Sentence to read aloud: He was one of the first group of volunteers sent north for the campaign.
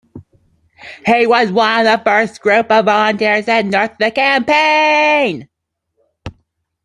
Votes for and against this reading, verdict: 1, 2, rejected